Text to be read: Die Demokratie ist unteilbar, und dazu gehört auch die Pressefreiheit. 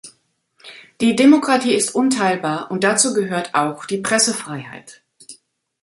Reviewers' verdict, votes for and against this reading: accepted, 2, 0